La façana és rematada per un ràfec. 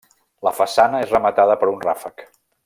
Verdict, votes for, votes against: accepted, 3, 0